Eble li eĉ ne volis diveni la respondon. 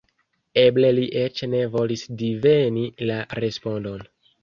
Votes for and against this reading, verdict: 2, 0, accepted